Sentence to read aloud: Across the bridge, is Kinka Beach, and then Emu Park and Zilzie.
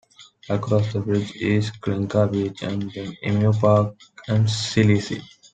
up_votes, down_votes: 2, 0